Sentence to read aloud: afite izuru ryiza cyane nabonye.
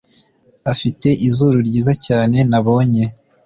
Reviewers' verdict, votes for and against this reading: accepted, 2, 0